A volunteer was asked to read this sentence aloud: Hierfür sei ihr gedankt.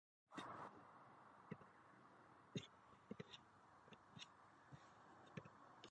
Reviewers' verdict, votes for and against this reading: rejected, 0, 2